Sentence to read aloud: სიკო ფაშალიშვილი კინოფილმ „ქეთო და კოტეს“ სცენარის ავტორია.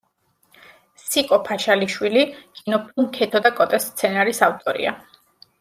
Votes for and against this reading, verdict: 1, 2, rejected